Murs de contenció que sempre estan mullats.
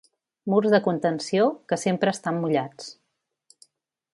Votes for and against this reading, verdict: 3, 0, accepted